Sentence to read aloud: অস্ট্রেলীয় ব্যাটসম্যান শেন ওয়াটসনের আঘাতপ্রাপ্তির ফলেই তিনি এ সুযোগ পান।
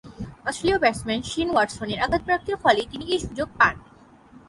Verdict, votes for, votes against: accepted, 3, 0